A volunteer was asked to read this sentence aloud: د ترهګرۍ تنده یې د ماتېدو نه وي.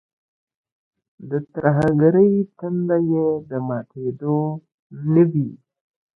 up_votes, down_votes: 2, 0